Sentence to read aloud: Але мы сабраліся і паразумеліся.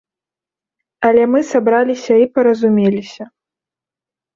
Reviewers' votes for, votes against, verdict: 2, 0, accepted